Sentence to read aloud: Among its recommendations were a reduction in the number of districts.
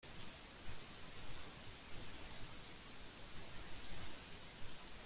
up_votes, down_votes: 0, 2